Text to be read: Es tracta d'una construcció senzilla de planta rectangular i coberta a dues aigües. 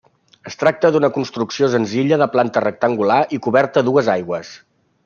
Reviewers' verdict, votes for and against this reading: accepted, 3, 0